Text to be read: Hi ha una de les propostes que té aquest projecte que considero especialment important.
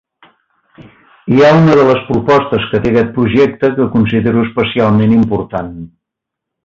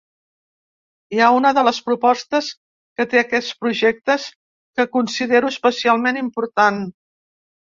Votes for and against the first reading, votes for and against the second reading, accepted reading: 4, 1, 1, 2, first